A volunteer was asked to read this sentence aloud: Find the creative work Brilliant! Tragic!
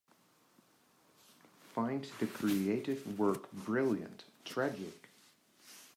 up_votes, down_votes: 3, 0